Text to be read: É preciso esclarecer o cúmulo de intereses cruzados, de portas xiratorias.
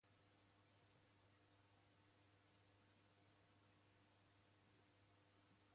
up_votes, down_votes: 0, 2